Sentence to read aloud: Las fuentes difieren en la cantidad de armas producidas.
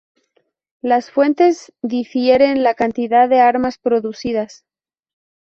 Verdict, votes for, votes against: rejected, 4, 6